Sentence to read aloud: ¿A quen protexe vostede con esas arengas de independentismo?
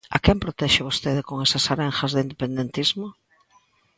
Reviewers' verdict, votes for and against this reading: accepted, 2, 0